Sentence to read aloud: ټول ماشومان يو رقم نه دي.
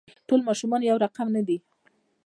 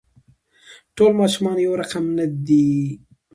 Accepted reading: second